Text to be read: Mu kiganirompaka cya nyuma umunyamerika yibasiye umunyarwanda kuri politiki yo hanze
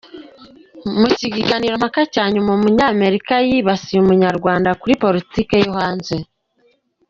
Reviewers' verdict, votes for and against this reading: accepted, 3, 1